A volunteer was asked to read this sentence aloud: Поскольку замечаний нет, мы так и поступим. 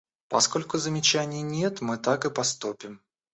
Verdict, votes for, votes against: rejected, 1, 2